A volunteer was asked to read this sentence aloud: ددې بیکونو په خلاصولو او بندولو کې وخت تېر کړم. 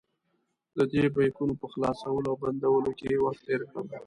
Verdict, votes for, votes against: accepted, 2, 0